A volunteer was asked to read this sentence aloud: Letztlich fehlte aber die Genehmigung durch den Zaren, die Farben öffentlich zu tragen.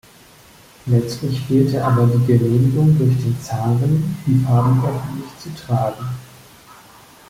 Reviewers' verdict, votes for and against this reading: rejected, 1, 2